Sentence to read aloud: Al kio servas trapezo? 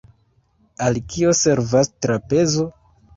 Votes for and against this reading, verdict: 2, 1, accepted